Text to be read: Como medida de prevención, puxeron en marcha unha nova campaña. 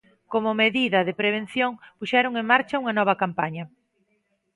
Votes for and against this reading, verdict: 2, 0, accepted